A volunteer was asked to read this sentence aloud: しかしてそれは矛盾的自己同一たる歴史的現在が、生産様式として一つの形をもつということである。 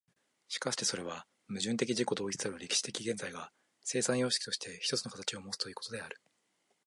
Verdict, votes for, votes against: accepted, 3, 0